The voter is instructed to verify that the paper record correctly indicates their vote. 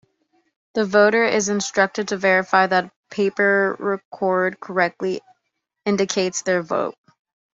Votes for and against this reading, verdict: 1, 2, rejected